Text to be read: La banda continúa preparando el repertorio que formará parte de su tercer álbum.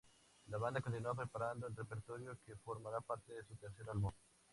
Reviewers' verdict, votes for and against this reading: rejected, 2, 2